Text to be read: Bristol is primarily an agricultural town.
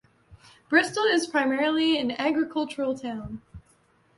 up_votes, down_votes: 2, 0